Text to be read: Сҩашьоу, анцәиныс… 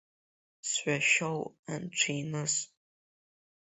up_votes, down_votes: 1, 3